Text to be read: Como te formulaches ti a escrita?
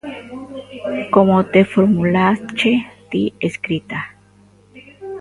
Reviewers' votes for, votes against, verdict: 0, 2, rejected